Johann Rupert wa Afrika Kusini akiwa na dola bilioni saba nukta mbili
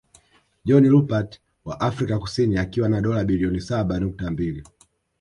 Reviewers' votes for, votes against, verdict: 0, 2, rejected